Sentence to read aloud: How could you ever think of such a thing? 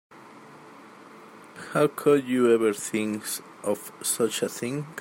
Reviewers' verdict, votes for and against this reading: rejected, 1, 2